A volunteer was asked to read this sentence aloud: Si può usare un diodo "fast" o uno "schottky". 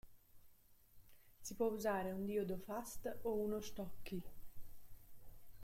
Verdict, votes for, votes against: rejected, 1, 2